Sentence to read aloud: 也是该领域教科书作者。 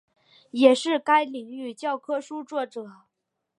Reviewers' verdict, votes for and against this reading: accepted, 5, 0